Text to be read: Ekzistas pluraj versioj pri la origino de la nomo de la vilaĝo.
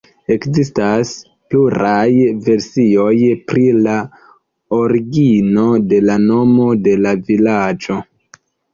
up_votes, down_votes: 2, 0